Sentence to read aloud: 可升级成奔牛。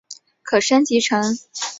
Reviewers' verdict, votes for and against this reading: rejected, 0, 2